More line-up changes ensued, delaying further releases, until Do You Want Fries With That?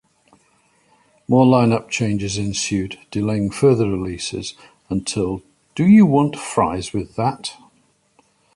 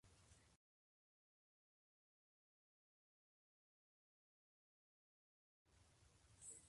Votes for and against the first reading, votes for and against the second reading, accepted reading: 2, 0, 0, 2, first